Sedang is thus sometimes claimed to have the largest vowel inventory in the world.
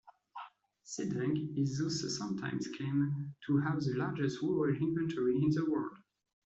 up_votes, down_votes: 0, 2